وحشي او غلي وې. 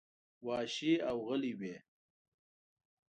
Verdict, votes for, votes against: accepted, 3, 0